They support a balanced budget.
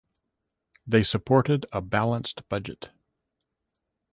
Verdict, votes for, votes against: rejected, 1, 2